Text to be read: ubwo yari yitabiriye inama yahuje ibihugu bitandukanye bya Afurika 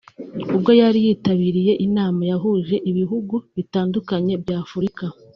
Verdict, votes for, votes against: accepted, 2, 0